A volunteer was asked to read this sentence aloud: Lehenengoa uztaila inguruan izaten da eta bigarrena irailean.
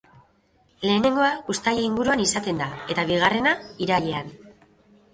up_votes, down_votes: 2, 0